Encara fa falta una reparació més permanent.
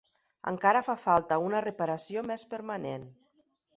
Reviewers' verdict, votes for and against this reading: accepted, 3, 0